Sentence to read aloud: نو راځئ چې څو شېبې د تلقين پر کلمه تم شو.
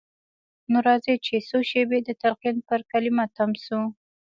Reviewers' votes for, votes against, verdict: 1, 2, rejected